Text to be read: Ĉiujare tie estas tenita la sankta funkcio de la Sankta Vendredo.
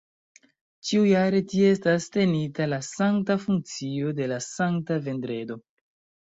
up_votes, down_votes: 2, 0